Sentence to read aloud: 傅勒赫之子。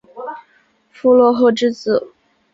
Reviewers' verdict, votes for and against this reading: accepted, 3, 0